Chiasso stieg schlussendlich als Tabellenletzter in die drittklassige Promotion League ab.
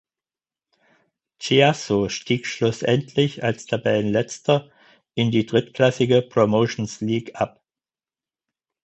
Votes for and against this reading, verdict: 0, 4, rejected